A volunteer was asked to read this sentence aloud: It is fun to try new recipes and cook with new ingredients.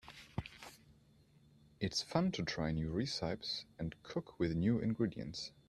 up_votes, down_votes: 1, 2